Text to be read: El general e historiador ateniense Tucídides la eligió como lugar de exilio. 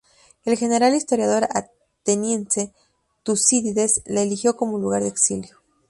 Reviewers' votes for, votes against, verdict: 0, 2, rejected